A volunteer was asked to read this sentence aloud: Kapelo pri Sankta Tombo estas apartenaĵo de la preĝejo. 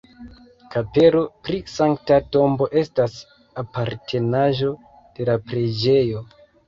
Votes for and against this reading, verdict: 1, 2, rejected